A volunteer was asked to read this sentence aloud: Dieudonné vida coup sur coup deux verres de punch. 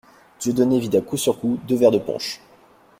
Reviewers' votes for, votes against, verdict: 2, 0, accepted